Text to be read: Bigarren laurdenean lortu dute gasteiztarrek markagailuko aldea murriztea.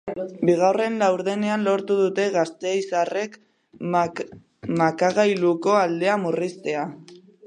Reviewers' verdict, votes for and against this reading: rejected, 1, 3